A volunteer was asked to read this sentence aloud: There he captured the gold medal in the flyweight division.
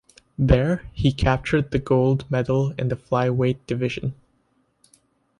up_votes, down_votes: 2, 0